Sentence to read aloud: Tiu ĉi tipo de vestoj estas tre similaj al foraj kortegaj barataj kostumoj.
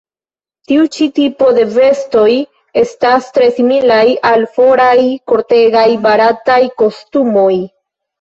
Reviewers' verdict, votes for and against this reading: accepted, 2, 0